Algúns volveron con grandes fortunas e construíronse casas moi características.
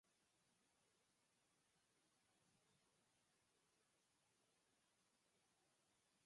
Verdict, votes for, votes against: rejected, 0, 4